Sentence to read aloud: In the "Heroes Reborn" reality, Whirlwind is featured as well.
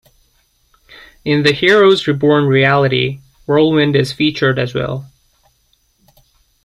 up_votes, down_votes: 2, 0